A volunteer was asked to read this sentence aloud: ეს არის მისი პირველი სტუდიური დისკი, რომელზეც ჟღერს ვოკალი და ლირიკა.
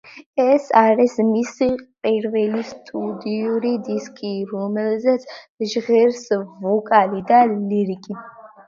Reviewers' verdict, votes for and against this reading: rejected, 0, 2